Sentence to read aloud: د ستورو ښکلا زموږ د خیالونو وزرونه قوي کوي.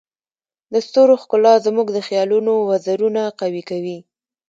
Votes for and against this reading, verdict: 0, 2, rejected